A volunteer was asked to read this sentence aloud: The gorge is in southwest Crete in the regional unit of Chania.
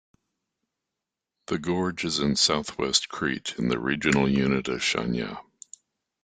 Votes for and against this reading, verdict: 2, 0, accepted